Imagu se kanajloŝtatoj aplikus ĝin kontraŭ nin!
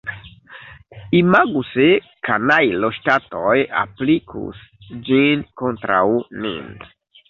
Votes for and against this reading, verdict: 2, 0, accepted